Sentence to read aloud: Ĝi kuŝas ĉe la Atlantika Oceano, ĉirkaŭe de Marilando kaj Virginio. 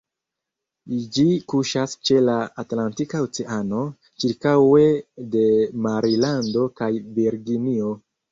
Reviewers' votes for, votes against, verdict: 1, 2, rejected